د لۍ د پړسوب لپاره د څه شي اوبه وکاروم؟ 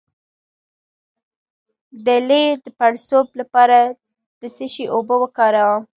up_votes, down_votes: 0, 2